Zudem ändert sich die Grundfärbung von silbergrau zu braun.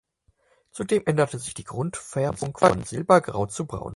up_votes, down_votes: 0, 4